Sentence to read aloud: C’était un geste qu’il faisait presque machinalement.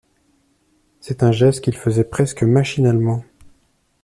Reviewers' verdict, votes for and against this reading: rejected, 0, 2